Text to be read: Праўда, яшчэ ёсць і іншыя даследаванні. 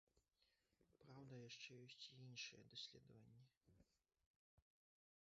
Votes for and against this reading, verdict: 0, 2, rejected